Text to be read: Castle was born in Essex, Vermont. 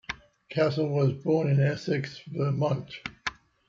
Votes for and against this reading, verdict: 2, 0, accepted